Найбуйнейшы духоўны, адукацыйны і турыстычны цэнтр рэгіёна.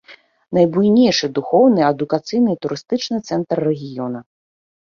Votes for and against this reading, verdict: 2, 0, accepted